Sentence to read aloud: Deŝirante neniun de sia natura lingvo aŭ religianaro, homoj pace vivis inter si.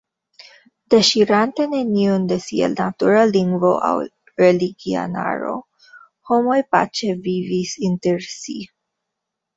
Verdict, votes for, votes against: rejected, 0, 2